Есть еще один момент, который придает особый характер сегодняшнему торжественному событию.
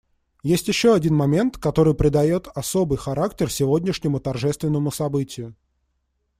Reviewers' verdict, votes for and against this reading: accepted, 2, 0